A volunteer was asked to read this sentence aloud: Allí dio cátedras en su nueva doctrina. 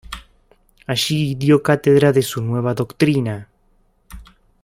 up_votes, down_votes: 1, 2